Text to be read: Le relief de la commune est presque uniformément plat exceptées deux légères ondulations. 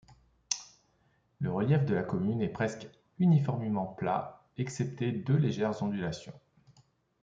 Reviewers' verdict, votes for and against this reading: accepted, 2, 0